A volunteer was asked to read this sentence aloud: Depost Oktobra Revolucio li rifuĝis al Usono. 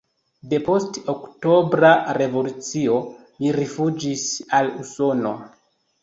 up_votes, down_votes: 2, 0